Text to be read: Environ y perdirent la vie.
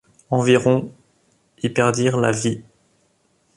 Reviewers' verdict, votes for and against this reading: accepted, 2, 0